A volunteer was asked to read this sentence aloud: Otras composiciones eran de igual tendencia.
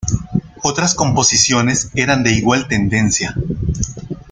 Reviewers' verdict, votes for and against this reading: accepted, 2, 0